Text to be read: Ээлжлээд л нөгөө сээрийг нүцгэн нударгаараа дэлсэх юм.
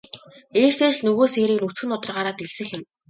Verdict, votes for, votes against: rejected, 1, 2